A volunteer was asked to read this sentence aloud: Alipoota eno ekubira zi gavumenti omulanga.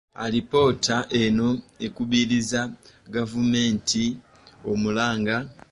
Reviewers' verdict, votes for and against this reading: rejected, 0, 2